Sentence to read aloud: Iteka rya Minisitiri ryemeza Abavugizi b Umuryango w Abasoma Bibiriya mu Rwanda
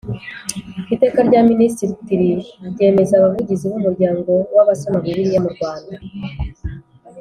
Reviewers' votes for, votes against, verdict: 2, 0, accepted